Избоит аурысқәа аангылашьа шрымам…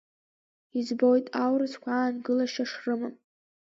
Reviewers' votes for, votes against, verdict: 1, 2, rejected